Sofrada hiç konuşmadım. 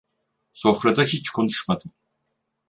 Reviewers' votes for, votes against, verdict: 4, 0, accepted